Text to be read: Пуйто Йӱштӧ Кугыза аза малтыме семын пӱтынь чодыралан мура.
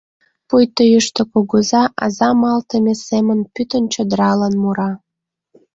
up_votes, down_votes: 2, 0